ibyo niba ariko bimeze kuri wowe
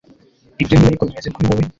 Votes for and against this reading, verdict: 1, 2, rejected